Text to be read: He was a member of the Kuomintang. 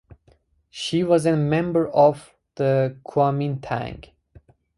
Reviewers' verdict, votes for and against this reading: accepted, 4, 2